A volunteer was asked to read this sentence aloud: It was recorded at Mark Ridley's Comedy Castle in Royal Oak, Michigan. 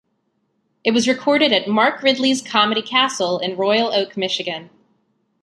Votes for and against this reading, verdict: 2, 0, accepted